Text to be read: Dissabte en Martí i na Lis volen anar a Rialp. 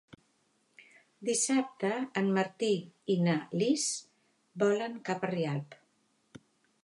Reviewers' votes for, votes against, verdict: 2, 3, rejected